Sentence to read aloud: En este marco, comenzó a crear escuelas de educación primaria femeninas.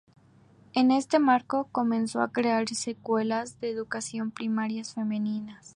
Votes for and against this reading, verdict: 0, 2, rejected